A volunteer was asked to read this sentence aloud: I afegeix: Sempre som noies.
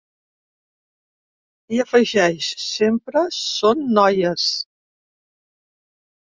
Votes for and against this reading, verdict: 2, 3, rejected